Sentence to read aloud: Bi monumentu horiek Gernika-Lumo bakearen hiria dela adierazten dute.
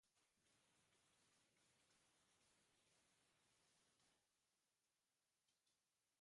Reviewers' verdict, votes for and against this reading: rejected, 0, 2